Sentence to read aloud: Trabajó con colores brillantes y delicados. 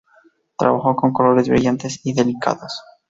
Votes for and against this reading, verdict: 2, 0, accepted